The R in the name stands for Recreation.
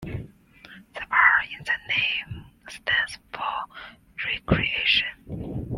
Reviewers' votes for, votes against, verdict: 2, 1, accepted